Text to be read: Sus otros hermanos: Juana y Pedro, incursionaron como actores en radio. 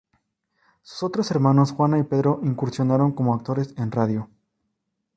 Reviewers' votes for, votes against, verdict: 0, 2, rejected